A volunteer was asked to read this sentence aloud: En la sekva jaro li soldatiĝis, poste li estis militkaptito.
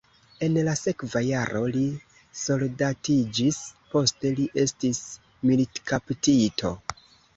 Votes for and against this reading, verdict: 0, 2, rejected